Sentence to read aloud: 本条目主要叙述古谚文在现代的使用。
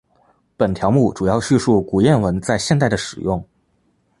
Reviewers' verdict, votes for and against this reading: accepted, 8, 0